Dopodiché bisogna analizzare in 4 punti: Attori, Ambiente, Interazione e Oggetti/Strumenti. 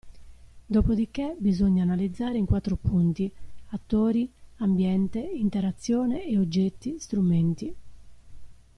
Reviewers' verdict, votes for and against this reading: rejected, 0, 2